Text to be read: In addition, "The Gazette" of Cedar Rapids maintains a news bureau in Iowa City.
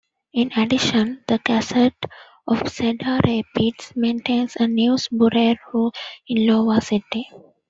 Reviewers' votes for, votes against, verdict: 0, 2, rejected